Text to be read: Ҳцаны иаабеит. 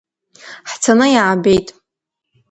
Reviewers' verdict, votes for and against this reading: accepted, 2, 0